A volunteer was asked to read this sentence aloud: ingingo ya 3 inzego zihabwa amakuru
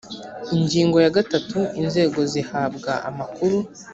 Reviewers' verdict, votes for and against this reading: rejected, 0, 2